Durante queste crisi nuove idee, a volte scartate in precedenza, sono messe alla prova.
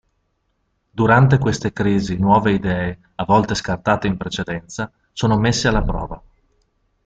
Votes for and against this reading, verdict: 2, 0, accepted